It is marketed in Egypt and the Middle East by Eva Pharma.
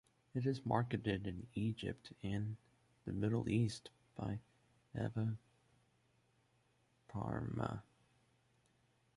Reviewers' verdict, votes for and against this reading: rejected, 1, 2